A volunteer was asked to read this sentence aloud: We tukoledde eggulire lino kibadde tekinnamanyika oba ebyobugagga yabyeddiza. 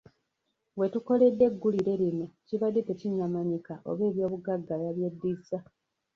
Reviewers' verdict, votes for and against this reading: rejected, 1, 2